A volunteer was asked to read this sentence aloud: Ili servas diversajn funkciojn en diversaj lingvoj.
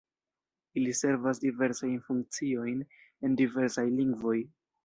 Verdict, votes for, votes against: rejected, 0, 2